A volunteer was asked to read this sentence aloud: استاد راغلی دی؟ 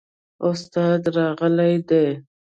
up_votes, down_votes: 0, 2